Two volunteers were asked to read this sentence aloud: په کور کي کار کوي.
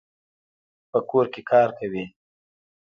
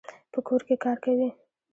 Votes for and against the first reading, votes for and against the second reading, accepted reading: 1, 2, 2, 0, second